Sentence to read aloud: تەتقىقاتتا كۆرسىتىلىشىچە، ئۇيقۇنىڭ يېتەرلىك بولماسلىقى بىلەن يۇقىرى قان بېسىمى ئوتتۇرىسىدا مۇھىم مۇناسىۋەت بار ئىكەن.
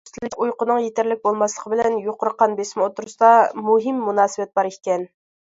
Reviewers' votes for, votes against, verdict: 0, 2, rejected